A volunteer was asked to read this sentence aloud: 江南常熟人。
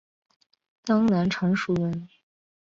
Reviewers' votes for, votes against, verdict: 2, 0, accepted